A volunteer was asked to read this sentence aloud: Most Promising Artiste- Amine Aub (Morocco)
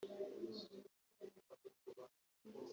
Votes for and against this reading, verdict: 0, 2, rejected